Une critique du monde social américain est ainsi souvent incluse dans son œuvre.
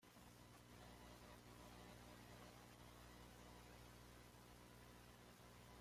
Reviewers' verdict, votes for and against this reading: rejected, 0, 2